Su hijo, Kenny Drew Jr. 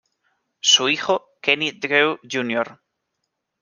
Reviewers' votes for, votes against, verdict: 0, 2, rejected